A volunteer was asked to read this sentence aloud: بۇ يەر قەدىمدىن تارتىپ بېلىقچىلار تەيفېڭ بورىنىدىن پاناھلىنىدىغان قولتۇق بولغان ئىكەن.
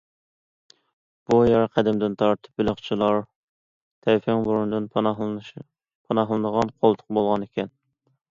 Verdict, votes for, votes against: rejected, 0, 2